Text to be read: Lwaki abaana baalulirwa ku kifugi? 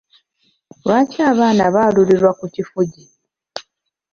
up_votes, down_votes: 2, 0